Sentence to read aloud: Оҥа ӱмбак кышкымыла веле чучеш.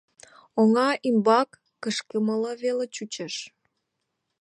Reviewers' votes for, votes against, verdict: 2, 0, accepted